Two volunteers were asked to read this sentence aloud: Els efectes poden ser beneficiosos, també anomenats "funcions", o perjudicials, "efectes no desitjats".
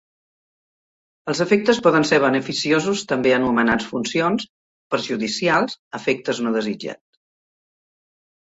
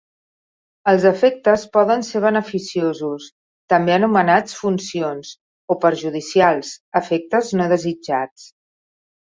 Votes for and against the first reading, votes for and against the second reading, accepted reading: 0, 2, 3, 0, second